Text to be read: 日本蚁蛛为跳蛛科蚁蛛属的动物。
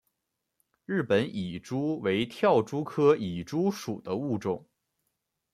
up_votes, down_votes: 0, 2